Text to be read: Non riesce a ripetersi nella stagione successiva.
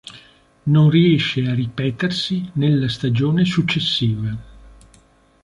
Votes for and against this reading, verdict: 3, 0, accepted